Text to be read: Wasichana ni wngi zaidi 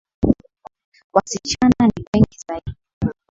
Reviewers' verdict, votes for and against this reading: rejected, 1, 2